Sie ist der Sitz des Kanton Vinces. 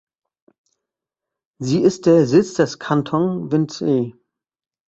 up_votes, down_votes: 0, 2